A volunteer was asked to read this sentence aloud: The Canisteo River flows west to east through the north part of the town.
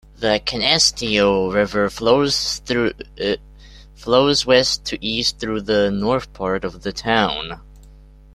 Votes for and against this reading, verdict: 1, 3, rejected